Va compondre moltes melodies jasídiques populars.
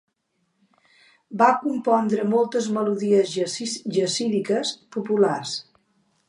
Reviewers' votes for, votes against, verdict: 0, 2, rejected